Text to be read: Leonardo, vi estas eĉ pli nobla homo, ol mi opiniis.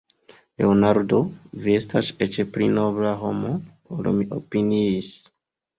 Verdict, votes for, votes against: accepted, 2, 0